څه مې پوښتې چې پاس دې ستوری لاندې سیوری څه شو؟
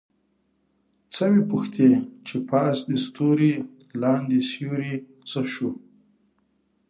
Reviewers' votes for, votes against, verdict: 3, 0, accepted